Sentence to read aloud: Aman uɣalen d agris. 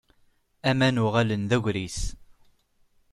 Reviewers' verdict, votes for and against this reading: accepted, 2, 0